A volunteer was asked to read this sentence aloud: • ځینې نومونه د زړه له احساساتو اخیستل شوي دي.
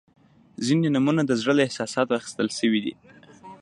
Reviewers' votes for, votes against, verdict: 1, 2, rejected